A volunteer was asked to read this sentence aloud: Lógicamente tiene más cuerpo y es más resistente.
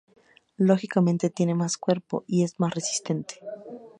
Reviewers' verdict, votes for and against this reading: accepted, 2, 0